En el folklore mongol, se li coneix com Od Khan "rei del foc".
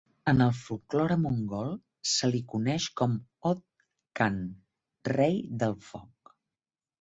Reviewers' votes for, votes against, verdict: 2, 0, accepted